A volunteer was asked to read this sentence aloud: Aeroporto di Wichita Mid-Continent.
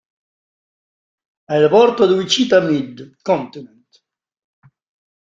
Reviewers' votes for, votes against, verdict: 0, 2, rejected